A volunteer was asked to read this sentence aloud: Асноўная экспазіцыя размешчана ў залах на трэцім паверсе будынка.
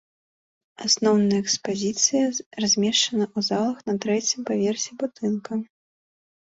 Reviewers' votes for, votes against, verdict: 2, 0, accepted